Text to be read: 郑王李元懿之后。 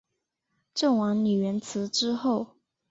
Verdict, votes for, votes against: accepted, 9, 0